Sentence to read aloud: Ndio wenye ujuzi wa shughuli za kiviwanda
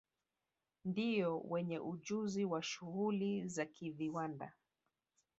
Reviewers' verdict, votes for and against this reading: rejected, 1, 2